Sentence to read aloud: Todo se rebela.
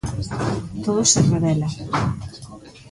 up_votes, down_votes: 0, 2